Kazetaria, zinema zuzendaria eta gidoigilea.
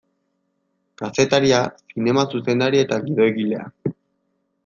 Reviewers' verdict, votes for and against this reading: accepted, 2, 0